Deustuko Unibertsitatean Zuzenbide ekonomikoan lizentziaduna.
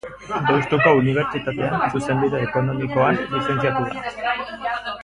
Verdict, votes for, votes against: rejected, 1, 3